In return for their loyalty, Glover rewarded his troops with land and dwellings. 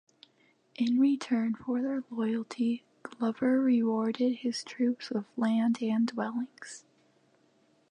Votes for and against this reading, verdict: 2, 0, accepted